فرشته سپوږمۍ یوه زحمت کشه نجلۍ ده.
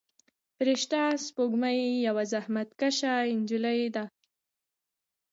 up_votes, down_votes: 2, 1